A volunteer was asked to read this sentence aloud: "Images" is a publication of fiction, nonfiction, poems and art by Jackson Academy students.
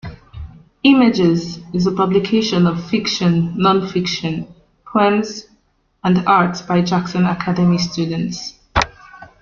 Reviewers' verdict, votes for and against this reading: rejected, 0, 2